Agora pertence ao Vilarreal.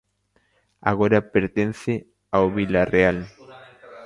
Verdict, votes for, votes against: rejected, 1, 2